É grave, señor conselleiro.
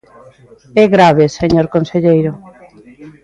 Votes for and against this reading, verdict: 0, 2, rejected